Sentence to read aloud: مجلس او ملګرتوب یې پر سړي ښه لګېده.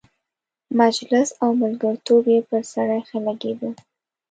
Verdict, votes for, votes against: accepted, 5, 1